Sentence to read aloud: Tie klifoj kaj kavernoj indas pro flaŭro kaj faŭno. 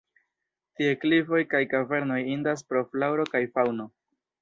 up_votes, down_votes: 3, 0